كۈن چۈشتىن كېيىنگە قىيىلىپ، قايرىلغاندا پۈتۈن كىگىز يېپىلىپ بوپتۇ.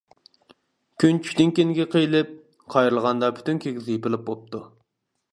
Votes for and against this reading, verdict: 2, 1, accepted